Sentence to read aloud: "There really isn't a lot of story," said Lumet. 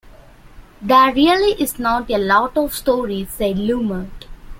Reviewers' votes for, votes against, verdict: 0, 2, rejected